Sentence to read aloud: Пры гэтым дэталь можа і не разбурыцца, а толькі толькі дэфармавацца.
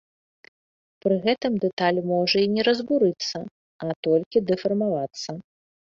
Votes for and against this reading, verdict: 2, 0, accepted